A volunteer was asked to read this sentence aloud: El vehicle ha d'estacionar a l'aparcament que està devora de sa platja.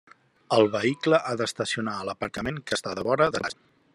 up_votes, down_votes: 0, 2